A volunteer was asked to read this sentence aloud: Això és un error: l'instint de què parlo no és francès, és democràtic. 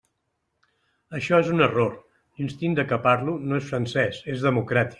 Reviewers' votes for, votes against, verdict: 2, 0, accepted